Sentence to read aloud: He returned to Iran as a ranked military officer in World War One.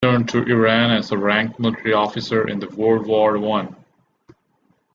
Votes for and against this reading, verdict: 1, 2, rejected